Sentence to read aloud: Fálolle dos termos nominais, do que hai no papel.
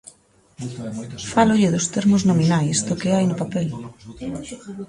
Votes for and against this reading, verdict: 1, 2, rejected